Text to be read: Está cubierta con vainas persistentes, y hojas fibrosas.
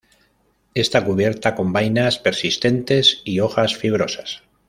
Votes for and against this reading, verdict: 2, 0, accepted